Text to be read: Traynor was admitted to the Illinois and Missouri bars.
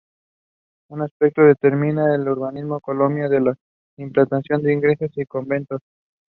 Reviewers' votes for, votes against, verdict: 1, 2, rejected